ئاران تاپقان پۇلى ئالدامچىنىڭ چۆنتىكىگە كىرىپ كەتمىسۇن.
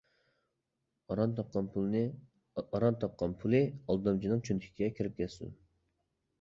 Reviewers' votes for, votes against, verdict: 0, 2, rejected